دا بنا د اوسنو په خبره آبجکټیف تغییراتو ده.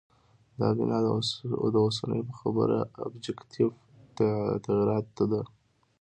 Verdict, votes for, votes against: accepted, 2, 0